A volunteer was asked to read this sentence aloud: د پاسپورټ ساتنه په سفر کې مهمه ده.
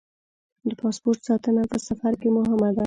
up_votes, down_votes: 2, 0